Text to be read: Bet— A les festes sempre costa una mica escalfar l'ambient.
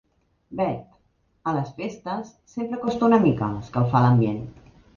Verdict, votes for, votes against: accepted, 4, 0